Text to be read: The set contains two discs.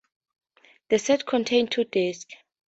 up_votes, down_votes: 0, 2